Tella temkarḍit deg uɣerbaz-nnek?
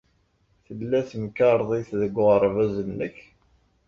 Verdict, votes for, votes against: accepted, 2, 0